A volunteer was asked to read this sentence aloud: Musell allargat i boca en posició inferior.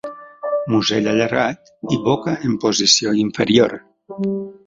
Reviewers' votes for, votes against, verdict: 1, 2, rejected